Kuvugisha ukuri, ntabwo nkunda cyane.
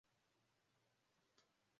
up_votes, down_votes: 0, 2